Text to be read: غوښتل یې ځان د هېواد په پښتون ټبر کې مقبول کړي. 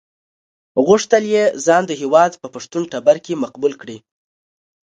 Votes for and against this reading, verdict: 2, 1, accepted